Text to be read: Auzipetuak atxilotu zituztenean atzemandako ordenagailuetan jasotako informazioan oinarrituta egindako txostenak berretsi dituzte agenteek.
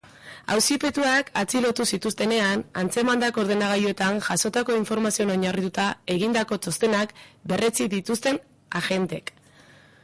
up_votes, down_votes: 2, 0